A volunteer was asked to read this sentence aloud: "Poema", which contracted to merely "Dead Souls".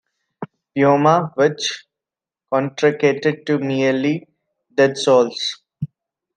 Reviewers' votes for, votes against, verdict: 2, 1, accepted